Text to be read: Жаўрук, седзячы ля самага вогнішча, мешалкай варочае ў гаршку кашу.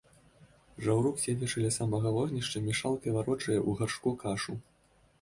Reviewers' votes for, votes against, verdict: 3, 0, accepted